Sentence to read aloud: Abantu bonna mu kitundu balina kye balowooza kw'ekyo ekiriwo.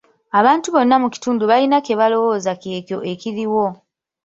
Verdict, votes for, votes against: rejected, 0, 2